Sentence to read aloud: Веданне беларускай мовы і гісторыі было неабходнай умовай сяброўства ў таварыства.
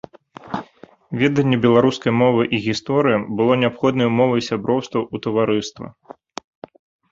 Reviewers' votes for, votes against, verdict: 2, 0, accepted